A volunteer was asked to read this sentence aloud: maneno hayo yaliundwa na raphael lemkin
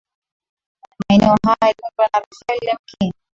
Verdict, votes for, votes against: accepted, 2, 0